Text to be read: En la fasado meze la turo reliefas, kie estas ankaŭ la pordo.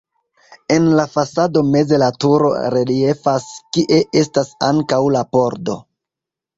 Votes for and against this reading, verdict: 2, 0, accepted